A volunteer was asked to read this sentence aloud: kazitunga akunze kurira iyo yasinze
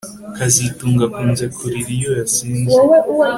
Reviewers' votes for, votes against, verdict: 2, 0, accepted